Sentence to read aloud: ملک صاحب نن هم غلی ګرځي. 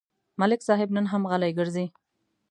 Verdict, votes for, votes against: accepted, 2, 0